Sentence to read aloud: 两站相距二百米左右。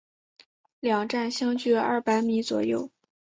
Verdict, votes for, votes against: accepted, 4, 0